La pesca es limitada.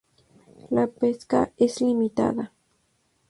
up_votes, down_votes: 2, 0